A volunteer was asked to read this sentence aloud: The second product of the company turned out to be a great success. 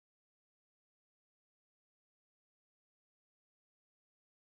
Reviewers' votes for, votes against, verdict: 0, 3, rejected